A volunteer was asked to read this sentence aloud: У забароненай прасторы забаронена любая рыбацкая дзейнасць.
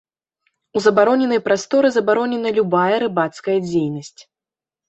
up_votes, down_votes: 2, 0